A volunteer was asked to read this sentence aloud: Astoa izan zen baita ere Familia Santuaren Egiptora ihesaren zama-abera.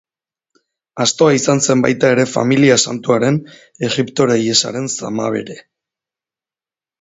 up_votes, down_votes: 0, 2